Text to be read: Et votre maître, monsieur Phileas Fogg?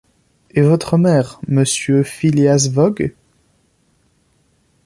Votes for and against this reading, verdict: 0, 2, rejected